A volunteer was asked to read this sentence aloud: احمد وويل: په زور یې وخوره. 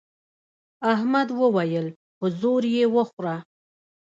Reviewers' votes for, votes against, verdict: 0, 2, rejected